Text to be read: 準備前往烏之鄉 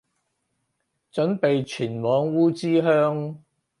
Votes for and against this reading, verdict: 4, 0, accepted